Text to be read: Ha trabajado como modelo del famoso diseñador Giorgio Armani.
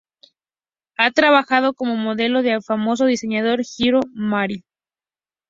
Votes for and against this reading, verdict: 2, 0, accepted